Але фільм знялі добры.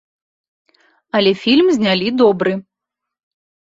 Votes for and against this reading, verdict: 2, 0, accepted